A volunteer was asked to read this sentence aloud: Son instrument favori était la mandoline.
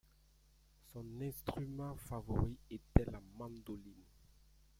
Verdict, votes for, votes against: accepted, 2, 1